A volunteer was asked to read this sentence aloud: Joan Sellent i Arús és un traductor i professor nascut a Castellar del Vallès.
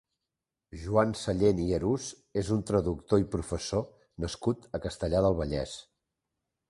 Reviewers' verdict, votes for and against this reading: accepted, 2, 0